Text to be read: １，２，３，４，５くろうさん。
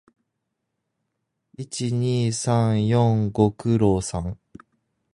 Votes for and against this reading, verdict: 0, 2, rejected